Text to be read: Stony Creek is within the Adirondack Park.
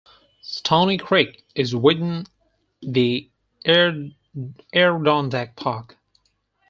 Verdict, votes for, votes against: rejected, 0, 4